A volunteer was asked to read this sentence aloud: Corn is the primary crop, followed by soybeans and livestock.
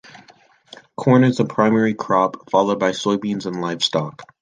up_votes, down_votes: 2, 0